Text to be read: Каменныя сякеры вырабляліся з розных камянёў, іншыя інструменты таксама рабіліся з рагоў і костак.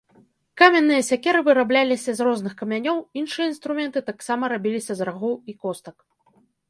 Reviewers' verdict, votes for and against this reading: rejected, 1, 2